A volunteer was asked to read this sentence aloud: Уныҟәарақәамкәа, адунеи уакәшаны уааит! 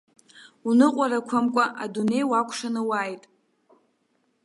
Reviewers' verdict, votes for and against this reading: accepted, 2, 0